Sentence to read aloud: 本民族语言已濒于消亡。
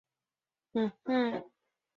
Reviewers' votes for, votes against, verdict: 0, 2, rejected